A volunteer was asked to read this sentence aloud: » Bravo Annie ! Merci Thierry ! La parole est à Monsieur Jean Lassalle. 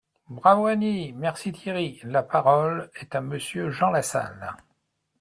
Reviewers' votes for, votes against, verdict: 2, 0, accepted